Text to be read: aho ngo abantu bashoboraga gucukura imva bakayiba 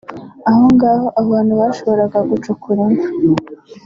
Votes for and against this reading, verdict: 0, 2, rejected